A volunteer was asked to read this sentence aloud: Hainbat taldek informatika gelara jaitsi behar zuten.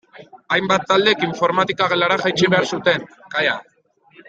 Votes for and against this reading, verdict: 0, 2, rejected